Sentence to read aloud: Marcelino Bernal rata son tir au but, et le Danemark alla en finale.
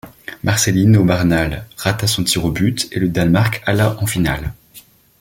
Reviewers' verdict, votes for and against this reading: rejected, 1, 2